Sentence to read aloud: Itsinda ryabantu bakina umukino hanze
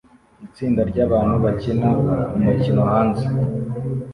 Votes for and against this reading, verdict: 2, 0, accepted